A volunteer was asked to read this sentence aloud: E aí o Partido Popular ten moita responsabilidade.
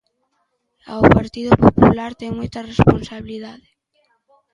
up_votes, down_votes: 0, 2